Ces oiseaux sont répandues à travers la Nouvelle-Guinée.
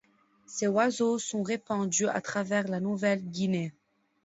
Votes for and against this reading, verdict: 2, 1, accepted